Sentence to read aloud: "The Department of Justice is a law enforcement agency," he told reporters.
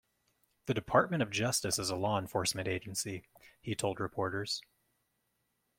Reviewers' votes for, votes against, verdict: 2, 1, accepted